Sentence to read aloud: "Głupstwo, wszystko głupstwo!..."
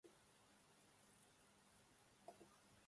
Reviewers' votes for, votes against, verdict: 0, 2, rejected